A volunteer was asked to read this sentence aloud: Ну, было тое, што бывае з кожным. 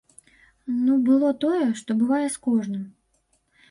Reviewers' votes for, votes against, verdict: 2, 0, accepted